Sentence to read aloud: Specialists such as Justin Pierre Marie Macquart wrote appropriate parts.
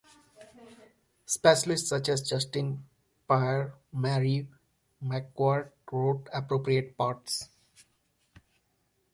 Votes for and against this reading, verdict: 0, 2, rejected